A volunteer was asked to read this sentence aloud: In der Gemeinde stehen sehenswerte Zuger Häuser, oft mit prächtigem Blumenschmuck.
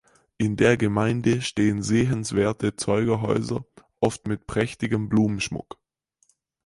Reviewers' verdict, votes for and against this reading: rejected, 0, 4